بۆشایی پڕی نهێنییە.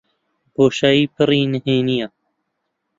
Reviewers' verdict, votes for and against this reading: accepted, 2, 0